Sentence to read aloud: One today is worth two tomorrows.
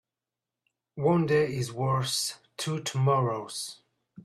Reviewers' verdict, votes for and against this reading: rejected, 1, 5